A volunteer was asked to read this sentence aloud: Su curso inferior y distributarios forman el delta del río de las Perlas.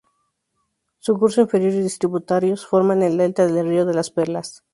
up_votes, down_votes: 2, 0